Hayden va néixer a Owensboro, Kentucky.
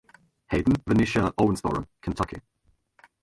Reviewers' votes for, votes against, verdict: 0, 2, rejected